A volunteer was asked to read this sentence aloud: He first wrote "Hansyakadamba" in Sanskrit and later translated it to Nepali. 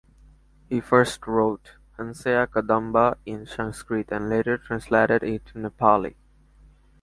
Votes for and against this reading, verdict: 4, 0, accepted